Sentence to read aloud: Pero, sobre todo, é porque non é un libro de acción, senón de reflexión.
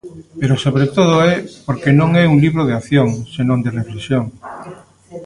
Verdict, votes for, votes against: rejected, 0, 2